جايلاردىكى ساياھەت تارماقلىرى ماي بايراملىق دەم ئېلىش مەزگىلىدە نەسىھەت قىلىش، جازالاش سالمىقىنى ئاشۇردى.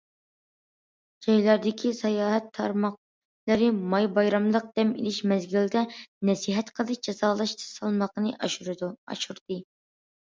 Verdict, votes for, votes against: rejected, 0, 2